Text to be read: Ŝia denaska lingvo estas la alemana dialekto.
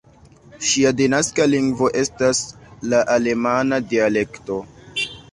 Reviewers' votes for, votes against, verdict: 2, 1, accepted